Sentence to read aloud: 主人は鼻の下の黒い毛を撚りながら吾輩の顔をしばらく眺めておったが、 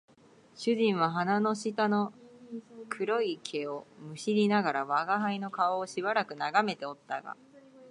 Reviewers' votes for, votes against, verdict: 2, 0, accepted